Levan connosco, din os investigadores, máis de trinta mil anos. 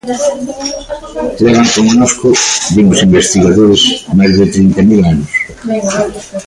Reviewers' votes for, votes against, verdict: 1, 2, rejected